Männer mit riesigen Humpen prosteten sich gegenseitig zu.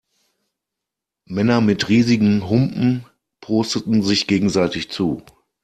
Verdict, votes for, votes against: accepted, 2, 0